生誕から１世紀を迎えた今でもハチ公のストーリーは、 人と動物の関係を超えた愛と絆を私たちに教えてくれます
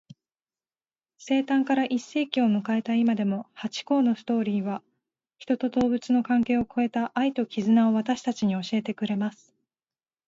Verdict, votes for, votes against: rejected, 0, 2